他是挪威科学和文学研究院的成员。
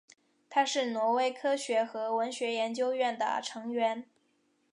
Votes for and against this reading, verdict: 3, 1, accepted